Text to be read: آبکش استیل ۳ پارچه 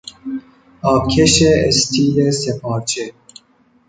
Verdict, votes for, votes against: rejected, 0, 2